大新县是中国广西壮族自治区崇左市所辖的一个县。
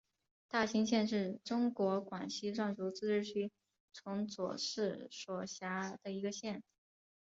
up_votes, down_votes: 5, 0